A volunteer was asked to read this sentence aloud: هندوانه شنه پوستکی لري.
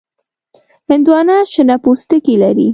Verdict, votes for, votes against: accepted, 2, 0